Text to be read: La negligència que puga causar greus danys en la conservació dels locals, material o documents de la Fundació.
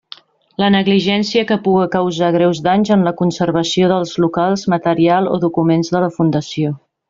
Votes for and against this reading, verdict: 3, 0, accepted